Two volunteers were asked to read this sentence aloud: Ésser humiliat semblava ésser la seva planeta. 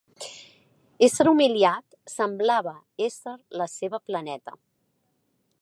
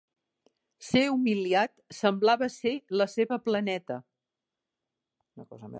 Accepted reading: first